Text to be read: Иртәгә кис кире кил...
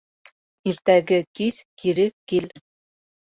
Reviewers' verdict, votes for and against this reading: rejected, 2, 3